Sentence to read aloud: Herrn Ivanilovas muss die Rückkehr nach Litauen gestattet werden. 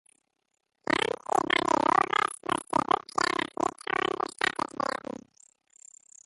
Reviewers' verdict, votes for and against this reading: rejected, 0, 2